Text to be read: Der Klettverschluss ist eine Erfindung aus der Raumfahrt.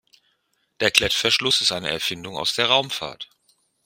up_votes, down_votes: 2, 0